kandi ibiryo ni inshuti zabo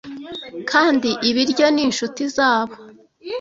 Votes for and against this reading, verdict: 2, 0, accepted